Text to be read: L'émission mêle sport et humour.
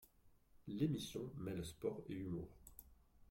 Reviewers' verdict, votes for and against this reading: rejected, 0, 2